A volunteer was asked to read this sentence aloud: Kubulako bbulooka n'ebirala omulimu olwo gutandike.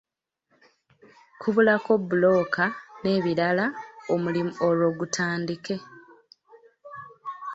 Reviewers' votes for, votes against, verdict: 2, 0, accepted